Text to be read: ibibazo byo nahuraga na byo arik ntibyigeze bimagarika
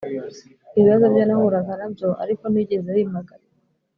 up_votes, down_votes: 2, 0